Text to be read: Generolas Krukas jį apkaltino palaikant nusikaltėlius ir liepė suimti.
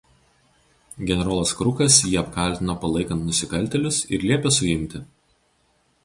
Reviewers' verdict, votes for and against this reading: accepted, 4, 0